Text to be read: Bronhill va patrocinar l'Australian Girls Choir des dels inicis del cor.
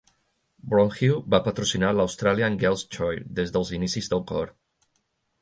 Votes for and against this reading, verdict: 3, 1, accepted